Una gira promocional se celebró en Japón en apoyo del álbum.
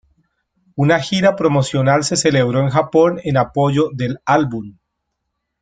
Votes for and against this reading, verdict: 1, 2, rejected